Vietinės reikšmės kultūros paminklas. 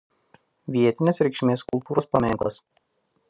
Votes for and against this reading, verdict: 1, 2, rejected